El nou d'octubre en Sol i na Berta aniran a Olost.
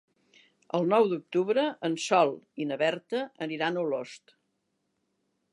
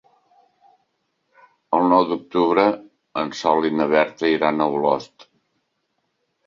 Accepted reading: first